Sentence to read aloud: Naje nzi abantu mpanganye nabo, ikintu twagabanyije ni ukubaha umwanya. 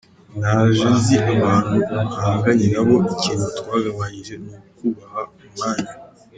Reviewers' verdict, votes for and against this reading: rejected, 1, 2